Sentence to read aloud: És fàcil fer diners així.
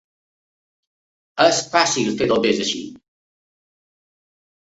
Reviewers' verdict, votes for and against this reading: rejected, 1, 2